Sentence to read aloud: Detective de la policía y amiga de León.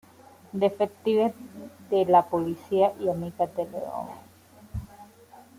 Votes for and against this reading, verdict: 2, 0, accepted